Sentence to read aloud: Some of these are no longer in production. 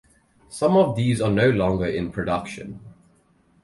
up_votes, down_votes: 4, 0